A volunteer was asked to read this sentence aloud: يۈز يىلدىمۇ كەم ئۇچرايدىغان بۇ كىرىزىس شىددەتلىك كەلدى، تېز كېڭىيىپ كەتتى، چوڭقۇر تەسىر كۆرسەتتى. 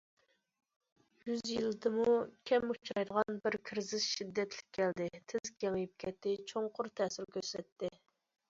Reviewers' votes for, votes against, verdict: 0, 2, rejected